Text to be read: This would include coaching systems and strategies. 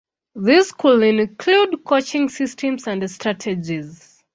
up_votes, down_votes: 1, 2